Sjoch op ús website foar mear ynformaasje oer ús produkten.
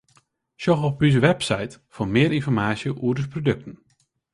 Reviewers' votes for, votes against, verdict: 2, 0, accepted